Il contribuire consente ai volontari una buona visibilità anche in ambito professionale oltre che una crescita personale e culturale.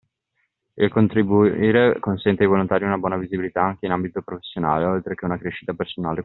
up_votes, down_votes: 0, 2